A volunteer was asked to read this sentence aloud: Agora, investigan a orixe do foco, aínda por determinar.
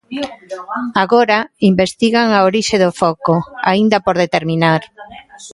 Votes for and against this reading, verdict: 2, 1, accepted